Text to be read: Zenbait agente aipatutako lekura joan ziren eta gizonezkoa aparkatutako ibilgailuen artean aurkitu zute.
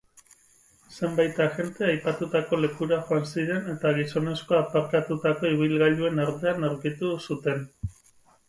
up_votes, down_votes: 0, 2